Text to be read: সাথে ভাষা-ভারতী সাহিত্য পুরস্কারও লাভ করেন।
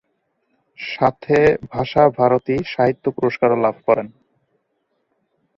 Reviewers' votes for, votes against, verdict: 2, 2, rejected